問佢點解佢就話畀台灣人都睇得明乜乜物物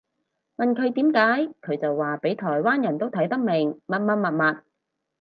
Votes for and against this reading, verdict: 4, 0, accepted